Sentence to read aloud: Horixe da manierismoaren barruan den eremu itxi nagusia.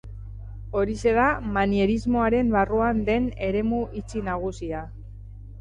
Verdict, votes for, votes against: rejected, 0, 2